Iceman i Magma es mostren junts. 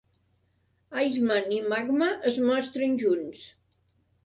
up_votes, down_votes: 2, 0